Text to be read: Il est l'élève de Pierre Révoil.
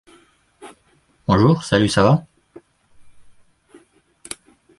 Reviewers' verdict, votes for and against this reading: rejected, 0, 2